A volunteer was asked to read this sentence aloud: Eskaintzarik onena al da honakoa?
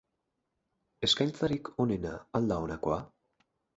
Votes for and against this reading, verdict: 4, 0, accepted